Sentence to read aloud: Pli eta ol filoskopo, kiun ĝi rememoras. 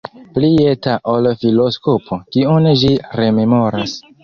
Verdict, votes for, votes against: rejected, 1, 2